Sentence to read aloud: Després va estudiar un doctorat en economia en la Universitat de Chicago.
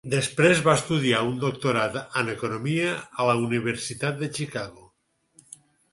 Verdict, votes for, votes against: accepted, 4, 2